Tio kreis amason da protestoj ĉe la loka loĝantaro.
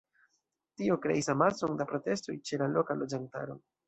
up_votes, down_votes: 2, 0